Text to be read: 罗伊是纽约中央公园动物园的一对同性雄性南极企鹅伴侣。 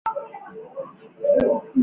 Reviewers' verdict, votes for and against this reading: rejected, 0, 3